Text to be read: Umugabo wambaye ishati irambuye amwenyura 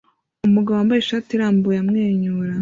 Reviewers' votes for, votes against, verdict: 0, 2, rejected